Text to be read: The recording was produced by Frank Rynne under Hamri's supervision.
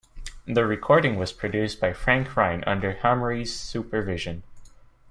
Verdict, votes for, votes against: accepted, 2, 1